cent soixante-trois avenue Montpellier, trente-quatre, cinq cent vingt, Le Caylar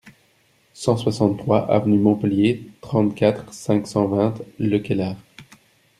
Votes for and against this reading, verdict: 2, 0, accepted